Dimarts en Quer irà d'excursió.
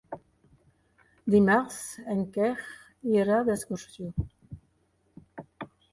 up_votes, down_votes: 1, 4